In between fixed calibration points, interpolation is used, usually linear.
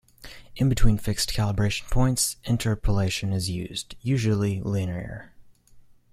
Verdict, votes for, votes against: accepted, 2, 0